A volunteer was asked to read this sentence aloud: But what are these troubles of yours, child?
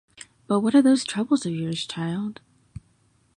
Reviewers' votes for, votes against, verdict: 2, 0, accepted